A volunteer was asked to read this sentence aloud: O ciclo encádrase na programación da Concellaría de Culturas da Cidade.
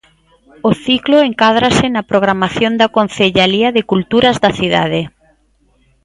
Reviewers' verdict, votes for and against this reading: rejected, 0, 2